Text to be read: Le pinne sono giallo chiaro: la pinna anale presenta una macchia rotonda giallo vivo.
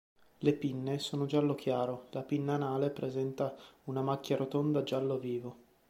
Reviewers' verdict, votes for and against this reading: accepted, 2, 0